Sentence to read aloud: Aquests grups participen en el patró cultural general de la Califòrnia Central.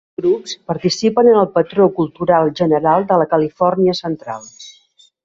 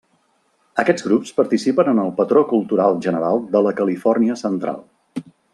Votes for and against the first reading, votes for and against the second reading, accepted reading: 0, 2, 2, 0, second